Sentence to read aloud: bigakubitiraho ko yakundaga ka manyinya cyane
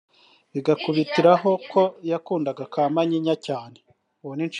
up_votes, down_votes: 3, 0